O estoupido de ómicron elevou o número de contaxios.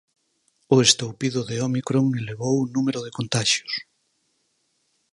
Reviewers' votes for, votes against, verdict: 6, 2, accepted